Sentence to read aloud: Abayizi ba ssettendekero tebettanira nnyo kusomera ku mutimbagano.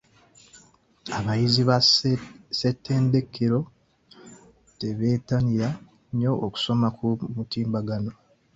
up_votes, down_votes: 0, 2